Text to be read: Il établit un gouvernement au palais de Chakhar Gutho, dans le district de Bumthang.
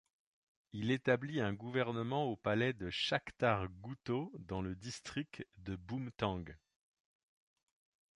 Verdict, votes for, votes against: rejected, 0, 2